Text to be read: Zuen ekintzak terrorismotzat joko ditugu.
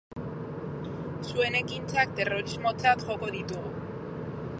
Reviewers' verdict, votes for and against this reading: accepted, 4, 0